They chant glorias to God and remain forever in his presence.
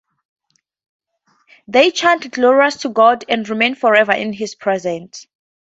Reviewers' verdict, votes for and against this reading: accepted, 2, 0